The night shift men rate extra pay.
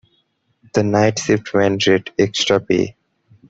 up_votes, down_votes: 0, 2